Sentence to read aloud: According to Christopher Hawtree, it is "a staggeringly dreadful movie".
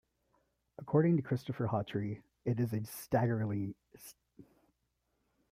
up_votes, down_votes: 1, 2